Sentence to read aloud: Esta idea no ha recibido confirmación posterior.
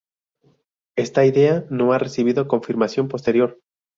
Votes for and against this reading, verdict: 2, 0, accepted